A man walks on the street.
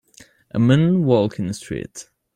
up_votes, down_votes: 2, 0